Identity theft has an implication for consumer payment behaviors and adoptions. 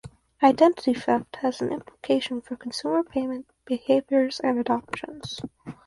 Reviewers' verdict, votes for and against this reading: rejected, 2, 4